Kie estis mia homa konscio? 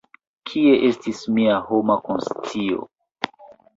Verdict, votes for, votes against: accepted, 2, 0